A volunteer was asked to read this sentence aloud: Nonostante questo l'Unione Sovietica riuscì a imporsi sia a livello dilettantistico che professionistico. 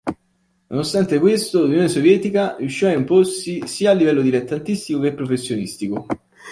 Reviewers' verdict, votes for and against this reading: accepted, 2, 1